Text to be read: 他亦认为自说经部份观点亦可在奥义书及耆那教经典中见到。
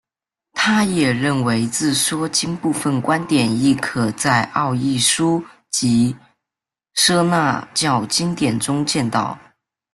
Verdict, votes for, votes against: rejected, 1, 2